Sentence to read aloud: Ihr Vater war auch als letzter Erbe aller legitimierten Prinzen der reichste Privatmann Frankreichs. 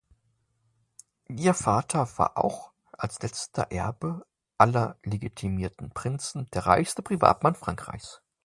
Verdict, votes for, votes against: accepted, 2, 1